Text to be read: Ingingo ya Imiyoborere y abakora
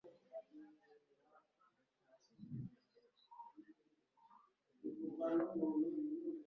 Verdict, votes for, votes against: rejected, 0, 2